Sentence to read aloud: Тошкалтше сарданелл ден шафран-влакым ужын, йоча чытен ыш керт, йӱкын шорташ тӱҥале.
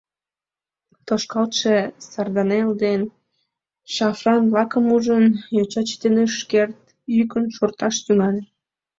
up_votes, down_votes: 2, 1